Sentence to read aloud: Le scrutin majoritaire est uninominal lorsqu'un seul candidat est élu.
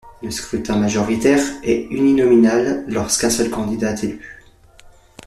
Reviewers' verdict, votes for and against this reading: accepted, 2, 1